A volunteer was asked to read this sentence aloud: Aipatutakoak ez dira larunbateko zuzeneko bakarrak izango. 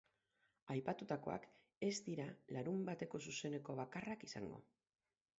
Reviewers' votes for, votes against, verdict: 4, 4, rejected